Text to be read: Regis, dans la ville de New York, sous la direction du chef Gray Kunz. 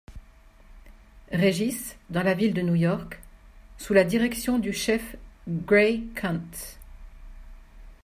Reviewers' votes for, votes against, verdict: 2, 0, accepted